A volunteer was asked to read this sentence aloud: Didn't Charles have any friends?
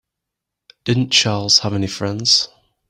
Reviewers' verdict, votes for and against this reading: accepted, 3, 0